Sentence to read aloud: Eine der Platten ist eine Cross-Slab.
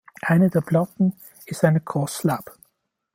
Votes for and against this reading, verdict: 2, 1, accepted